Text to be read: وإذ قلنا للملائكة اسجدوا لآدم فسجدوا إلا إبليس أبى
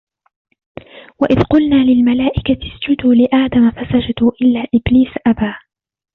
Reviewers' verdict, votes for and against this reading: rejected, 0, 2